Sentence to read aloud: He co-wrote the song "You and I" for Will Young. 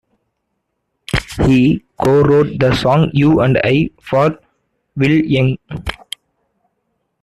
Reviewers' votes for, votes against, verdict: 1, 2, rejected